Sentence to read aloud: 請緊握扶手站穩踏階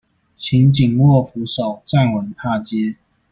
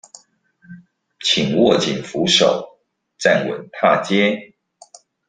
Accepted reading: first